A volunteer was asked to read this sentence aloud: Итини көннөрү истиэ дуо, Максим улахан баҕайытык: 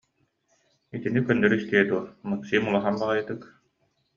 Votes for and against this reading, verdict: 2, 0, accepted